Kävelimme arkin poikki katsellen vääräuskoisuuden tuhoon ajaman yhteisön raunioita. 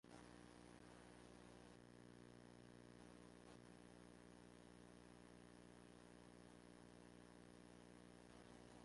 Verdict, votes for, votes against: rejected, 0, 2